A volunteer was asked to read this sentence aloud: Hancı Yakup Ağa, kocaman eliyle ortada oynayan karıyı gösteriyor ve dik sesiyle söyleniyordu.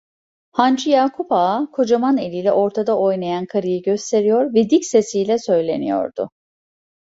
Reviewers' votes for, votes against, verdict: 2, 0, accepted